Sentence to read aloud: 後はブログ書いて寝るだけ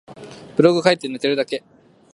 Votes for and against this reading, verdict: 1, 2, rejected